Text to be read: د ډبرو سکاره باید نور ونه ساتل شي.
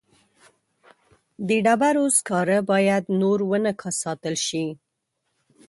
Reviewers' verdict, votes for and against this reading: rejected, 1, 2